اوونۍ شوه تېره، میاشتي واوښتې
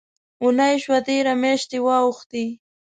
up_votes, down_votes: 2, 0